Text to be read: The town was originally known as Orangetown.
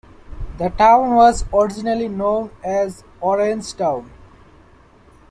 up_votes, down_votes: 0, 2